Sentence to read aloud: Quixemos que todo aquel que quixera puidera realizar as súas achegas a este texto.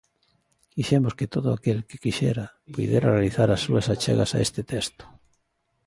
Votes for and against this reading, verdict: 2, 0, accepted